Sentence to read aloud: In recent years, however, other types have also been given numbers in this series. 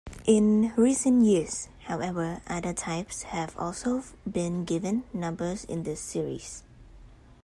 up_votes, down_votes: 2, 0